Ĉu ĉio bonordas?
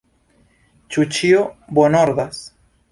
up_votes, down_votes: 2, 0